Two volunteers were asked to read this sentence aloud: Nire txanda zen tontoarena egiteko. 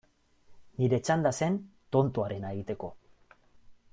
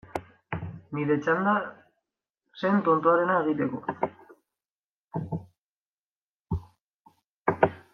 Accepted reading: first